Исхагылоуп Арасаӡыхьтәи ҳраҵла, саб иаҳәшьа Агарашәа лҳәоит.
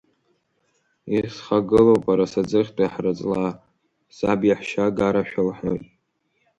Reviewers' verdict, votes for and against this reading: accepted, 2, 1